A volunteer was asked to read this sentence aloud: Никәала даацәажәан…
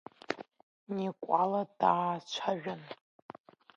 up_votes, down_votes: 2, 1